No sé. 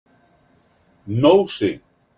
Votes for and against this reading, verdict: 0, 2, rejected